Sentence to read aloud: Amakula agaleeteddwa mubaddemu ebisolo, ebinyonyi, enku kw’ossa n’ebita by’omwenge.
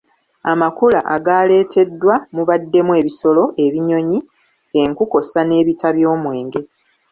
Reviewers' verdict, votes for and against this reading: rejected, 1, 2